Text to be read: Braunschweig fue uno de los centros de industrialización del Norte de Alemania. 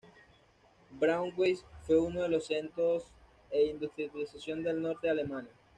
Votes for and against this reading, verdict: 1, 2, rejected